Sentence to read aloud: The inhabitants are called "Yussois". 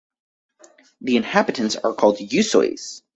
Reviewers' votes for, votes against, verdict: 4, 0, accepted